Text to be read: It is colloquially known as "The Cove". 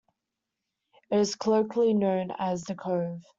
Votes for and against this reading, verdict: 2, 0, accepted